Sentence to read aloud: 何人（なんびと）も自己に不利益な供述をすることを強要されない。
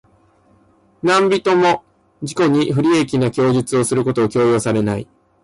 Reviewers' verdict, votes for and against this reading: accepted, 2, 0